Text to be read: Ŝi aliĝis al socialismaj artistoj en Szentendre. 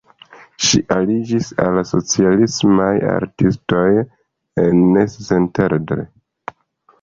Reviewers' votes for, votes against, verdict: 1, 2, rejected